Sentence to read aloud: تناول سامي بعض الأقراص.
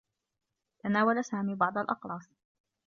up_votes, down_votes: 1, 2